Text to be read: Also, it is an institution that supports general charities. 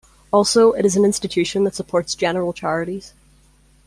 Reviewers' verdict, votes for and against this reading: accepted, 2, 1